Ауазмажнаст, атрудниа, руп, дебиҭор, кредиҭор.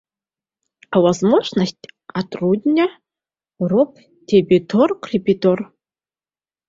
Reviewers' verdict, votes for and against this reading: rejected, 1, 2